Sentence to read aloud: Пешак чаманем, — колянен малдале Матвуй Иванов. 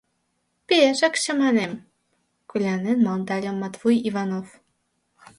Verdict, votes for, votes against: rejected, 1, 2